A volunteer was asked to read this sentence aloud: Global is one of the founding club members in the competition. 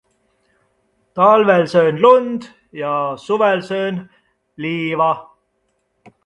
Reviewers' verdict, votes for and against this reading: rejected, 0, 2